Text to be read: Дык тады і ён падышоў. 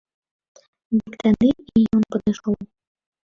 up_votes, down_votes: 1, 2